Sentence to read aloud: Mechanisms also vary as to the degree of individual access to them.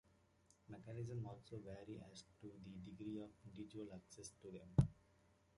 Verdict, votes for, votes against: rejected, 0, 2